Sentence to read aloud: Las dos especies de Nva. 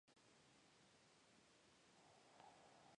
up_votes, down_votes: 0, 2